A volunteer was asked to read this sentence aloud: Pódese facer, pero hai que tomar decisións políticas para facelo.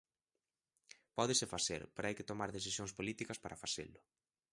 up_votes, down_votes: 2, 0